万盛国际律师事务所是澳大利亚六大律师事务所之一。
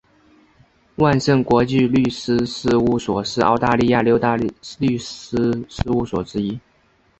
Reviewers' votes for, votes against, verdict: 2, 0, accepted